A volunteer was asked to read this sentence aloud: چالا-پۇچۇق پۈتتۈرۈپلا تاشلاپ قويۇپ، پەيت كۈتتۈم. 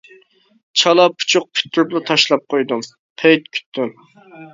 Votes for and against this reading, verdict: 0, 2, rejected